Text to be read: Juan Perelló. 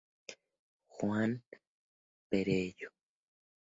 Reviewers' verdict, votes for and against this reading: accepted, 2, 0